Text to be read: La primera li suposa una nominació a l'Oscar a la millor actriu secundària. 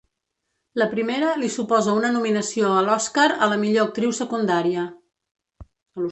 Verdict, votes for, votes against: accepted, 2, 0